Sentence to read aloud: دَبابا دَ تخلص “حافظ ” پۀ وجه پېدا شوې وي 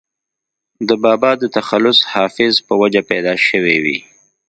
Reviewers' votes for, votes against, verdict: 2, 0, accepted